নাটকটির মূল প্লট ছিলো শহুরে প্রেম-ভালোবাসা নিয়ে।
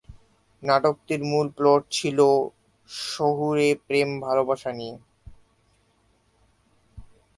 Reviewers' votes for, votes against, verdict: 3, 4, rejected